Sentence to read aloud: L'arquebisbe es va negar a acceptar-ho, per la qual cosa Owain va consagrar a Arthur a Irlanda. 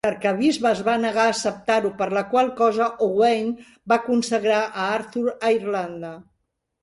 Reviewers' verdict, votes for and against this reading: accepted, 2, 0